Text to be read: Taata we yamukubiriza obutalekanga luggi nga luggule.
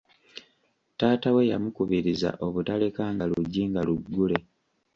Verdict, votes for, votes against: accepted, 2, 1